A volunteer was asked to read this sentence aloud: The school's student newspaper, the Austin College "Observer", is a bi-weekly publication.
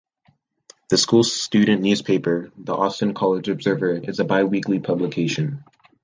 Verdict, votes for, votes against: accepted, 2, 0